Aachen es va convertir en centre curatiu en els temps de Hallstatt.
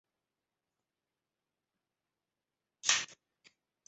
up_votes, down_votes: 0, 2